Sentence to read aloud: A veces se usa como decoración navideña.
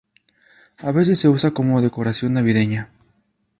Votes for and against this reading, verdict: 2, 0, accepted